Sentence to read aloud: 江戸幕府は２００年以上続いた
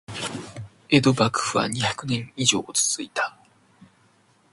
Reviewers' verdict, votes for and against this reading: rejected, 0, 2